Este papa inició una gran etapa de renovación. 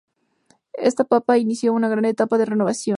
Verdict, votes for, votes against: rejected, 2, 2